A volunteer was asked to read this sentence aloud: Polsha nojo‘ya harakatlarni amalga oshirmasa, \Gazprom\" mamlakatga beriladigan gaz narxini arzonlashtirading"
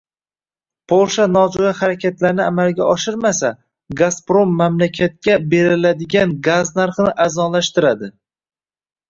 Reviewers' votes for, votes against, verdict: 1, 2, rejected